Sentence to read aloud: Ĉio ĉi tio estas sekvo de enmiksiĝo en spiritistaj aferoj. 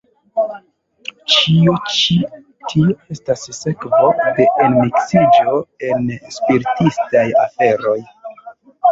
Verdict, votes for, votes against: rejected, 0, 2